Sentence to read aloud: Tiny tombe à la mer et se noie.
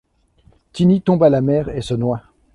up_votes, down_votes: 2, 0